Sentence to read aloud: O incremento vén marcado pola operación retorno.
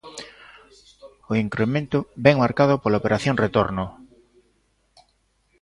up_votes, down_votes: 2, 0